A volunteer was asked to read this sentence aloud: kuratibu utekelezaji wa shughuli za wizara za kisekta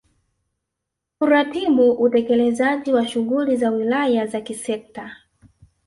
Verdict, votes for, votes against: rejected, 1, 2